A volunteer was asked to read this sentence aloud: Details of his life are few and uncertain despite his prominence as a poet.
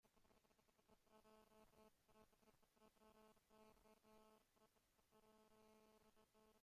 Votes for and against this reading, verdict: 0, 2, rejected